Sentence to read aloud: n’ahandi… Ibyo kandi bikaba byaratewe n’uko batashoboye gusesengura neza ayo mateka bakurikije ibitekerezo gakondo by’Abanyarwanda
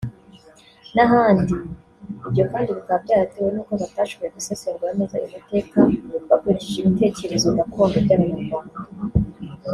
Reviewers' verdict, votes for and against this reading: rejected, 0, 2